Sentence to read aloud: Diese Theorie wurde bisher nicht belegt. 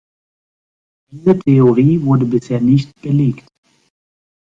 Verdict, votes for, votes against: rejected, 1, 2